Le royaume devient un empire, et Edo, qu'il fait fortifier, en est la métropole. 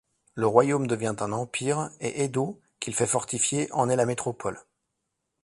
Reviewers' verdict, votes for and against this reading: accepted, 2, 0